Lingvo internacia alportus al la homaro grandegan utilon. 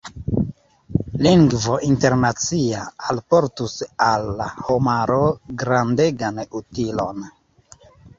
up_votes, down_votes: 1, 2